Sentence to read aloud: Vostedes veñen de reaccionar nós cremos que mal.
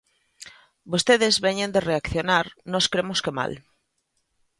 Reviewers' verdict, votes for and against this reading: accepted, 2, 0